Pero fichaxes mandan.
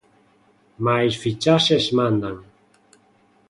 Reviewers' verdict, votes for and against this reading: rejected, 0, 2